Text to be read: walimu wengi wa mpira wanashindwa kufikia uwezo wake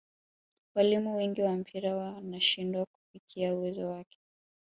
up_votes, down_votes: 2, 0